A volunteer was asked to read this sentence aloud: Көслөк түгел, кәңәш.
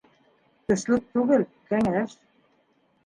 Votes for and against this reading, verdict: 1, 2, rejected